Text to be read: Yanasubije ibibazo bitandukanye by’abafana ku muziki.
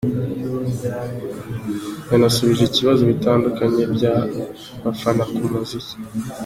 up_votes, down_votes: 1, 2